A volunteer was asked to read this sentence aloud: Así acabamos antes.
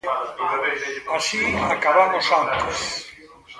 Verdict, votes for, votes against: rejected, 1, 2